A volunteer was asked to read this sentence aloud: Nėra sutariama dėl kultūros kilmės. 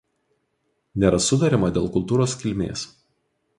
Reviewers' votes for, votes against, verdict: 2, 0, accepted